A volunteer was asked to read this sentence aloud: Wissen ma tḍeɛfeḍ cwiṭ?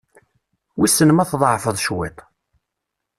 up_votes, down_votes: 2, 0